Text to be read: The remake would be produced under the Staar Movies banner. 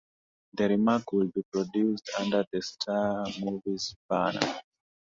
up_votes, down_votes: 2, 0